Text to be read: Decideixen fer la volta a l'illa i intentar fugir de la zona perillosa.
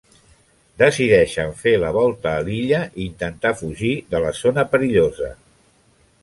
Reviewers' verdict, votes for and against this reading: accepted, 3, 0